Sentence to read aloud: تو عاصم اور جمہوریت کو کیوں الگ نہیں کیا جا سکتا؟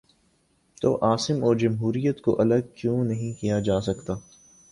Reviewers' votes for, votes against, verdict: 3, 0, accepted